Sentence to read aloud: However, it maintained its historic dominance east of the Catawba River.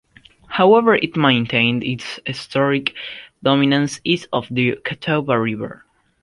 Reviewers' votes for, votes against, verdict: 2, 1, accepted